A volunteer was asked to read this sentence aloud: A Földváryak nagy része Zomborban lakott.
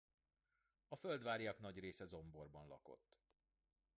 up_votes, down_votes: 2, 1